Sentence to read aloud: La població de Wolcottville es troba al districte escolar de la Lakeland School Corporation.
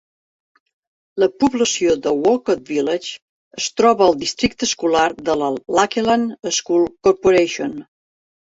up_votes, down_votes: 1, 2